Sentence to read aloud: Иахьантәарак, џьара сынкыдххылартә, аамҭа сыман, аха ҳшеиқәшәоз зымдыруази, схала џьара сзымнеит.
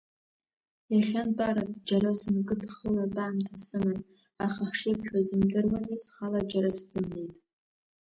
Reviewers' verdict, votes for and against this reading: rejected, 0, 2